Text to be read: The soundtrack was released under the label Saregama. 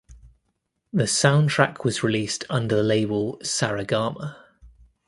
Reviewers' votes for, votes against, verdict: 1, 2, rejected